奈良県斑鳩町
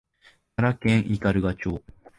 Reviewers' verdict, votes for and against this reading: accepted, 2, 0